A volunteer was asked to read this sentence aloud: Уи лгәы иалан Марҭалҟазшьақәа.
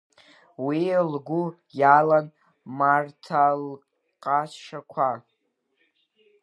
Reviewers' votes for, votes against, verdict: 0, 2, rejected